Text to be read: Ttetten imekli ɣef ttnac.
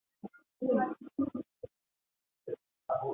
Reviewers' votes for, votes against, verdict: 0, 2, rejected